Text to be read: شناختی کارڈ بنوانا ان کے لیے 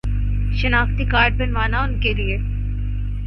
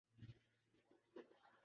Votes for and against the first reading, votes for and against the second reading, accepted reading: 4, 0, 0, 2, first